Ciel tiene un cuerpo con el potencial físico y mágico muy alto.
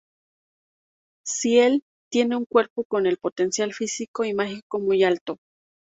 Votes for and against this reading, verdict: 2, 0, accepted